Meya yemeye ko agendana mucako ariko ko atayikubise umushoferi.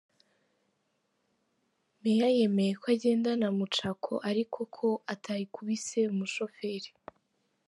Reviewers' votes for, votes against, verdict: 2, 0, accepted